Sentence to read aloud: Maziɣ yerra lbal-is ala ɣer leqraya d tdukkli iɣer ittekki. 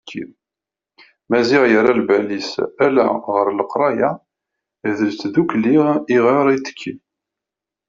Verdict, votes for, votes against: rejected, 0, 2